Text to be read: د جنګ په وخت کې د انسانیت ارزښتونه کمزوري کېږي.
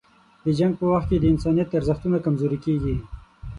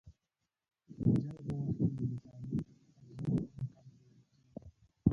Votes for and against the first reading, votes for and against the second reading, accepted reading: 6, 0, 0, 2, first